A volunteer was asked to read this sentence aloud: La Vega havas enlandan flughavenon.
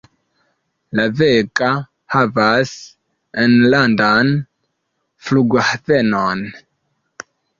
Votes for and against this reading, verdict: 2, 1, accepted